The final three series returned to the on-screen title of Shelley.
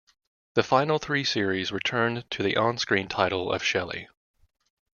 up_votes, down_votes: 2, 0